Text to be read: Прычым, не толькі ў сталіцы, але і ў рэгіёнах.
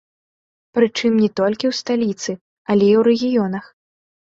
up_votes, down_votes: 2, 1